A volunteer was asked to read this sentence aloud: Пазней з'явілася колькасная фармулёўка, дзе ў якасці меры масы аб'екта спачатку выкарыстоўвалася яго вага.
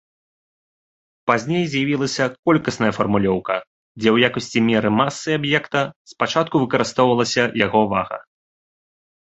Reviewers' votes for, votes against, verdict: 2, 0, accepted